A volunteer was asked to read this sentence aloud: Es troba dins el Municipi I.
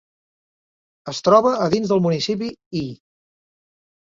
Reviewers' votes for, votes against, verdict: 2, 0, accepted